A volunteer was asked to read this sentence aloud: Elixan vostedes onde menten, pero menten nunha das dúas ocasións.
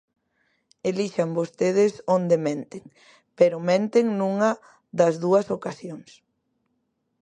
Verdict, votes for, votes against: accepted, 2, 0